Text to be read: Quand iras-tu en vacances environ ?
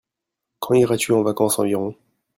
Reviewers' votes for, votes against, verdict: 1, 2, rejected